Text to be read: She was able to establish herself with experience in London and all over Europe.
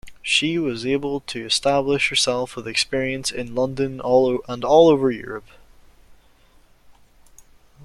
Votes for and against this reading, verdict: 0, 2, rejected